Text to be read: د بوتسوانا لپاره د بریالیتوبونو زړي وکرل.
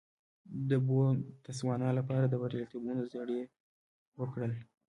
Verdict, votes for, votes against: rejected, 0, 2